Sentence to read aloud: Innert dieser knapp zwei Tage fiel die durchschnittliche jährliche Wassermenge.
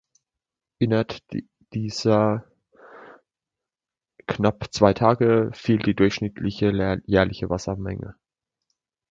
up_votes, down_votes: 0, 2